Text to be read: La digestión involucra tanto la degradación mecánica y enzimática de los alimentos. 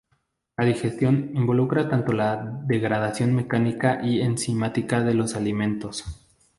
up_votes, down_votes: 0, 2